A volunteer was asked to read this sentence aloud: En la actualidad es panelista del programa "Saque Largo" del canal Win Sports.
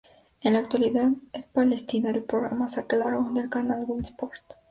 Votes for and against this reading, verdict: 2, 2, rejected